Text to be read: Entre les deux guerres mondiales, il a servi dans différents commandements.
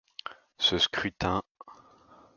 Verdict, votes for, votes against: rejected, 0, 2